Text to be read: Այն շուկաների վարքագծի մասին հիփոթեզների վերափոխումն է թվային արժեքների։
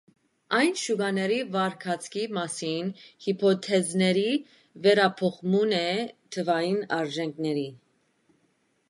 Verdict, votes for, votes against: rejected, 1, 2